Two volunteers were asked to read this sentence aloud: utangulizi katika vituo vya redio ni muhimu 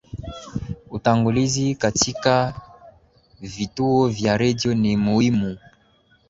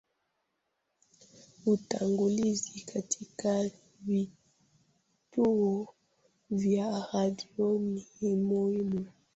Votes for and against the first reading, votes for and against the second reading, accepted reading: 2, 0, 0, 2, first